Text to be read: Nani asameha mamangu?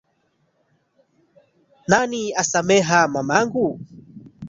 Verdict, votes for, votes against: rejected, 1, 2